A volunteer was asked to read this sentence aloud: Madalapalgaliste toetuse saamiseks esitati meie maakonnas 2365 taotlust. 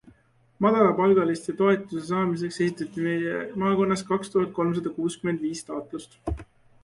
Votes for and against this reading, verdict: 0, 2, rejected